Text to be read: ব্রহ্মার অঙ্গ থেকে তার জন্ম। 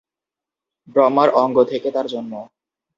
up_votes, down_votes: 0, 2